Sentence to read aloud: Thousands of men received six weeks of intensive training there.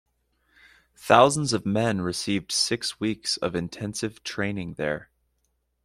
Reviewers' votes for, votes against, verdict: 2, 0, accepted